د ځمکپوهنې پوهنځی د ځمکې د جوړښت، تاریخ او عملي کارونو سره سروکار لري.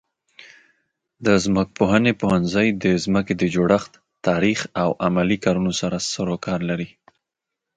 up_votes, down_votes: 2, 0